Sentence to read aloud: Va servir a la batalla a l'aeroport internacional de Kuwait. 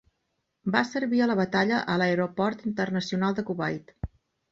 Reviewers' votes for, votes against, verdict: 4, 0, accepted